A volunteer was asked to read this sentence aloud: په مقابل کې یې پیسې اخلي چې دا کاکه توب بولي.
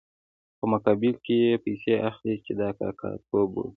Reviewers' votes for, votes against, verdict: 1, 2, rejected